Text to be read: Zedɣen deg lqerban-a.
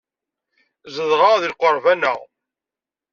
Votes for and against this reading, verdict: 0, 2, rejected